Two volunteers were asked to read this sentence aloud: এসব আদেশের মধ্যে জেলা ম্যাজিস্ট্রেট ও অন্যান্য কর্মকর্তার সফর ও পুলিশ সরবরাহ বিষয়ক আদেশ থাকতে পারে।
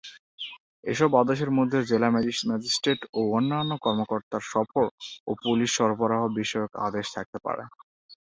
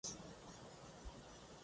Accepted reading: first